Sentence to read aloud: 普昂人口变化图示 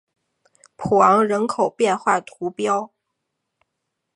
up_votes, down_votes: 1, 2